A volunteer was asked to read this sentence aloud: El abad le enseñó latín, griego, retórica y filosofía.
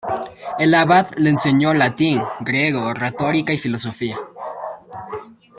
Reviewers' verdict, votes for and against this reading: accepted, 2, 0